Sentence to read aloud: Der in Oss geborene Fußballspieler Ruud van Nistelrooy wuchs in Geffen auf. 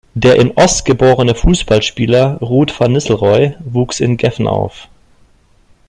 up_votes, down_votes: 0, 2